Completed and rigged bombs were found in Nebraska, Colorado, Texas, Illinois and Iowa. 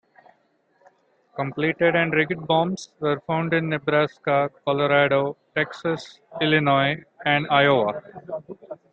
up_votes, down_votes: 2, 0